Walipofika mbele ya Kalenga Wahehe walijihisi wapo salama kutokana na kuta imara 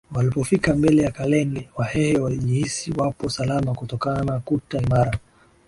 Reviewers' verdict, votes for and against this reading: accepted, 2, 0